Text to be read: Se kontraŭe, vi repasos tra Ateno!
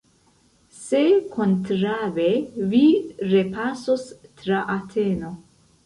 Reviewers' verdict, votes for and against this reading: rejected, 0, 2